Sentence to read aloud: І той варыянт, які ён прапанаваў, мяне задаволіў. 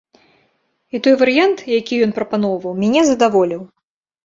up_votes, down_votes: 0, 3